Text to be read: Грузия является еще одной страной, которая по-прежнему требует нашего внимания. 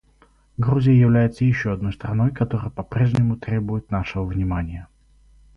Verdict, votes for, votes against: rejected, 2, 2